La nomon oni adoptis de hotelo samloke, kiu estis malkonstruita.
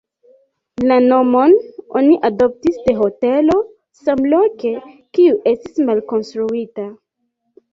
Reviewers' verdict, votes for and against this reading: accepted, 2, 0